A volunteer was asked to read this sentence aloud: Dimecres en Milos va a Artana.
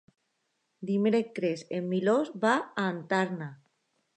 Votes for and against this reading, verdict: 1, 2, rejected